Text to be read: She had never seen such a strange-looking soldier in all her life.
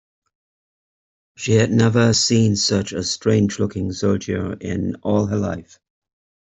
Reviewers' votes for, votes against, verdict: 0, 2, rejected